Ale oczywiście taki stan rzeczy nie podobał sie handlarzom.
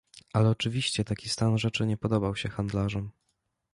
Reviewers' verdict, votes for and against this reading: accepted, 2, 0